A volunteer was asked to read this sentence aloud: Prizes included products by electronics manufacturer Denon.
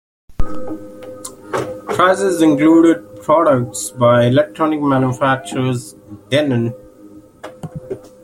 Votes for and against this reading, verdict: 2, 1, accepted